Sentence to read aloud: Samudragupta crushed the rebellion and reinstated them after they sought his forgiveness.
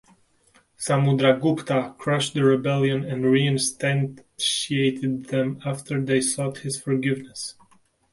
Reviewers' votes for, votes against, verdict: 0, 2, rejected